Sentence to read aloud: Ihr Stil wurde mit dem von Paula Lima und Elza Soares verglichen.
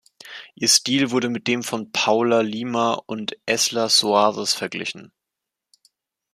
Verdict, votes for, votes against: rejected, 1, 2